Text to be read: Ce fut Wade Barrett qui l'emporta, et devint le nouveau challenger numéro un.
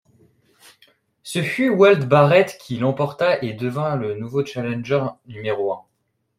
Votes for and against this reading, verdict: 2, 0, accepted